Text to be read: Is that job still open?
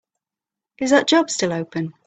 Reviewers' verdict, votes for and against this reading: accepted, 2, 0